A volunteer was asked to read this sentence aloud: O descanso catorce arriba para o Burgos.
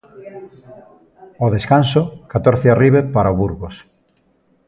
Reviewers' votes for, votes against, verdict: 1, 2, rejected